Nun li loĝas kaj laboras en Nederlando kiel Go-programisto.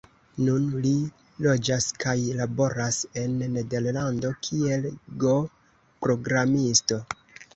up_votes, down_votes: 1, 2